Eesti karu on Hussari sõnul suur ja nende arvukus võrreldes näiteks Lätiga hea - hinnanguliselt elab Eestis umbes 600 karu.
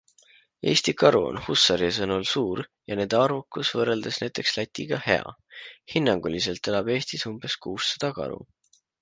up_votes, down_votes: 0, 2